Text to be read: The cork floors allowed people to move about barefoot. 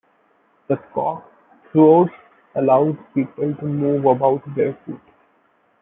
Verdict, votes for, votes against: rejected, 1, 2